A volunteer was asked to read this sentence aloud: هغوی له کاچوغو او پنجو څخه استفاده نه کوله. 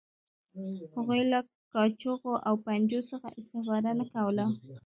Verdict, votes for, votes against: accepted, 2, 0